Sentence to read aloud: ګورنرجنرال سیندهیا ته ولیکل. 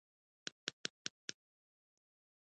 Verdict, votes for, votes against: rejected, 1, 2